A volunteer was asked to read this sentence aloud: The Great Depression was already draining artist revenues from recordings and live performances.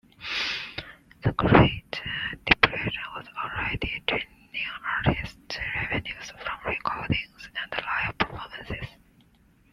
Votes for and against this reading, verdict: 1, 2, rejected